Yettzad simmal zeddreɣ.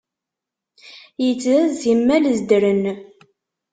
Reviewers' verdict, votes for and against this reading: rejected, 0, 2